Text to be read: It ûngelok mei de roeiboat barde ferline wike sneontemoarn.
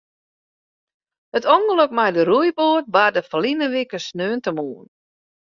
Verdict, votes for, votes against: accepted, 2, 0